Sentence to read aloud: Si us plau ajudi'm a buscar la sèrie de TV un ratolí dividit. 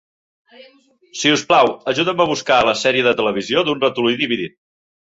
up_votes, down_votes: 0, 2